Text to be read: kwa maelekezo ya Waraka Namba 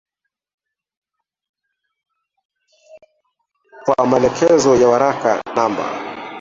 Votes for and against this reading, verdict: 0, 3, rejected